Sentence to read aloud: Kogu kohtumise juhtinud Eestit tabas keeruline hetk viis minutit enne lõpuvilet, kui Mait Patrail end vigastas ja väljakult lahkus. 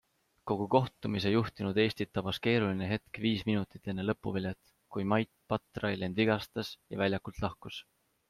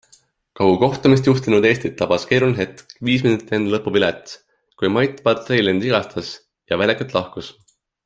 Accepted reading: first